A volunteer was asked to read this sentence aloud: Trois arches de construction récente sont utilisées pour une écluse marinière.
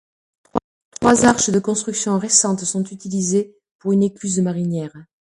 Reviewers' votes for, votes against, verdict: 0, 2, rejected